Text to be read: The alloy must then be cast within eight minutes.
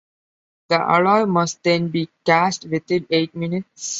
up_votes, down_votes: 2, 0